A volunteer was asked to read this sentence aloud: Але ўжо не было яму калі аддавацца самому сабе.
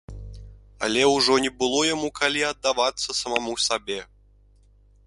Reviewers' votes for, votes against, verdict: 1, 2, rejected